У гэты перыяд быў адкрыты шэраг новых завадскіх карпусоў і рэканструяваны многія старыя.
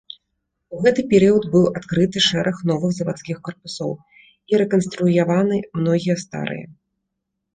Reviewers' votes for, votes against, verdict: 2, 0, accepted